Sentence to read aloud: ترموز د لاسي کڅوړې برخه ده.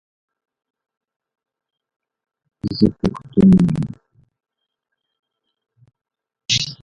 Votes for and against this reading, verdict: 0, 7, rejected